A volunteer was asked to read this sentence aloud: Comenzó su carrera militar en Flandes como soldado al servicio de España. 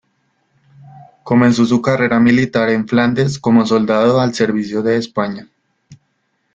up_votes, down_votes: 2, 0